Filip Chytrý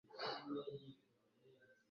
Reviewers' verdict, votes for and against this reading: rejected, 0, 2